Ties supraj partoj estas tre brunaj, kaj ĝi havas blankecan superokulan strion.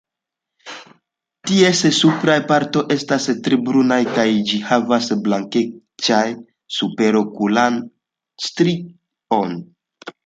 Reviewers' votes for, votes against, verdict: 2, 0, accepted